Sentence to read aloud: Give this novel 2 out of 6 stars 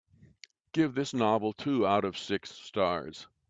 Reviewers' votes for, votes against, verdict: 0, 2, rejected